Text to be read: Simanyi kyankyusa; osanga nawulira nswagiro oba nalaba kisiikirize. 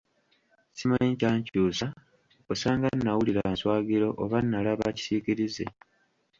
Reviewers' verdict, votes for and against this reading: rejected, 1, 2